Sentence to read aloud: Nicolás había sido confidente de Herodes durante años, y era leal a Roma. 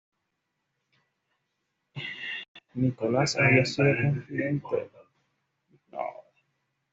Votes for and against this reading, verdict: 1, 2, rejected